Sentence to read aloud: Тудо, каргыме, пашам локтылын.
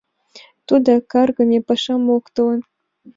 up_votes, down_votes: 2, 0